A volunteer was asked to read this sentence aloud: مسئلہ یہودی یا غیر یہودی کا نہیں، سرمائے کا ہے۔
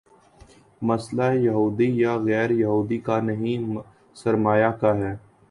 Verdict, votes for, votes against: accepted, 2, 0